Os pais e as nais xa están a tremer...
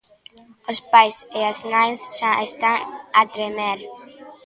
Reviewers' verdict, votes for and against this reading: accepted, 2, 0